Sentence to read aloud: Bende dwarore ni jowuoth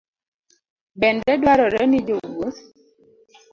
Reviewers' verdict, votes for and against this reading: accepted, 2, 0